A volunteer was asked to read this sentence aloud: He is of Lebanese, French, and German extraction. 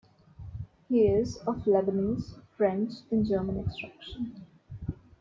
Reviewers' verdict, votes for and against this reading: accepted, 2, 1